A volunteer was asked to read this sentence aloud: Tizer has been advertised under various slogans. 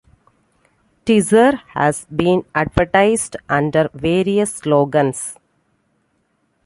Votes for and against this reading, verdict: 2, 0, accepted